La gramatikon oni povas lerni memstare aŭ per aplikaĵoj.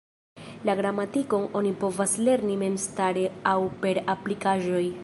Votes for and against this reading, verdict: 0, 2, rejected